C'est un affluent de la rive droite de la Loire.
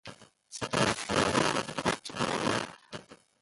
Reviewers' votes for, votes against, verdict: 0, 2, rejected